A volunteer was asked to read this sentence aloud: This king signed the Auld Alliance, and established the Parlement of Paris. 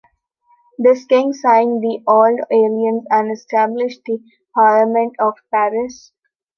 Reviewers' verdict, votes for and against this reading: rejected, 0, 2